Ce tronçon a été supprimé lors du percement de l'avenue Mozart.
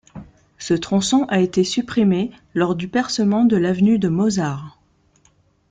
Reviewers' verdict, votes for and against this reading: rejected, 1, 2